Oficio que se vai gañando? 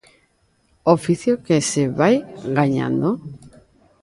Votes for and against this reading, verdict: 2, 1, accepted